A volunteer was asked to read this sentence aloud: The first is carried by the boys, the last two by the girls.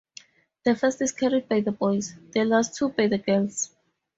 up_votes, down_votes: 4, 0